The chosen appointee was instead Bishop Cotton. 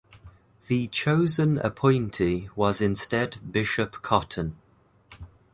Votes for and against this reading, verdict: 2, 0, accepted